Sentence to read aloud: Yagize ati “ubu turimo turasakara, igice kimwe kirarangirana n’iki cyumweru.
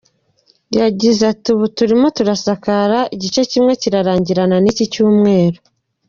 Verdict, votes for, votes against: accepted, 2, 0